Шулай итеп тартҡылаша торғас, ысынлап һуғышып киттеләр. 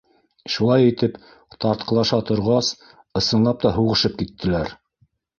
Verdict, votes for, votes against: rejected, 0, 2